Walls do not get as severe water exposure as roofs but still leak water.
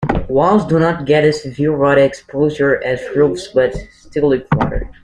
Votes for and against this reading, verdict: 2, 1, accepted